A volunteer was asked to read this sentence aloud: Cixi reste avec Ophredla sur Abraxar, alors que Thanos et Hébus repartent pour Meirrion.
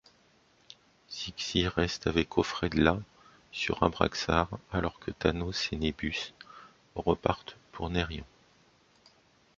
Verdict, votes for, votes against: rejected, 1, 2